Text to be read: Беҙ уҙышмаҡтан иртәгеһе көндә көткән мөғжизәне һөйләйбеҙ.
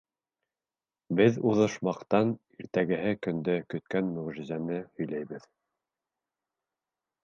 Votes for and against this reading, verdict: 2, 1, accepted